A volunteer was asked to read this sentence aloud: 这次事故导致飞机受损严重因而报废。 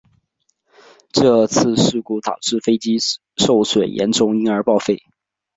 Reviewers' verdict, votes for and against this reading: accepted, 3, 0